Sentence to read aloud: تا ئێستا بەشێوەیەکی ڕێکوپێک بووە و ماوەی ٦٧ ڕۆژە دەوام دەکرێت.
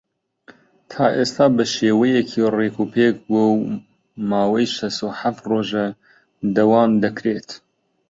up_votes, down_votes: 0, 2